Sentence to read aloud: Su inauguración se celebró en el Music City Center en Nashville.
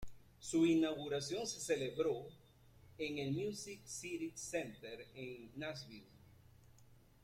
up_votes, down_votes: 0, 3